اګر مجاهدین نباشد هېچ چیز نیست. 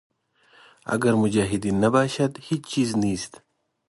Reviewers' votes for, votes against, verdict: 2, 0, accepted